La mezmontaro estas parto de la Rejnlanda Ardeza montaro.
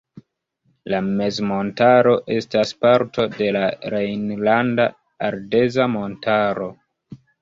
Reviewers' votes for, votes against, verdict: 2, 0, accepted